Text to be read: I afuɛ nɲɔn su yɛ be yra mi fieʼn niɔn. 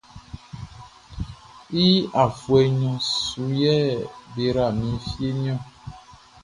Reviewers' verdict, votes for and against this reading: accepted, 2, 0